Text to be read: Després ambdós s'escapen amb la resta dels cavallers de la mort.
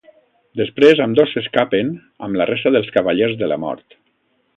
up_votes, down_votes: 2, 0